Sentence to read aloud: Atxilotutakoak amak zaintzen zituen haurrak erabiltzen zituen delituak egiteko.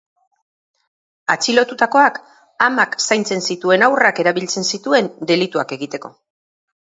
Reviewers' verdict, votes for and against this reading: accepted, 4, 0